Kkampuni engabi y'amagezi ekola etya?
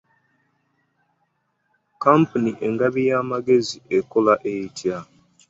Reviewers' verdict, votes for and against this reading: accepted, 2, 0